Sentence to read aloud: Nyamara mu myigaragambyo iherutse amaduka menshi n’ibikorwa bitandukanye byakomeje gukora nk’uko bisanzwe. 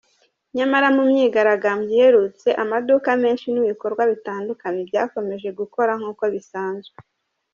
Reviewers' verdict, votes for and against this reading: accepted, 2, 1